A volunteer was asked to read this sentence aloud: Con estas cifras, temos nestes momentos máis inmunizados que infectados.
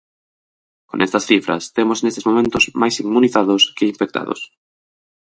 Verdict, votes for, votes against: rejected, 2, 2